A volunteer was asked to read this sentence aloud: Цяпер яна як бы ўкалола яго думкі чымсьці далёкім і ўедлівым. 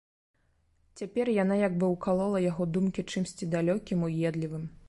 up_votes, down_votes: 0, 2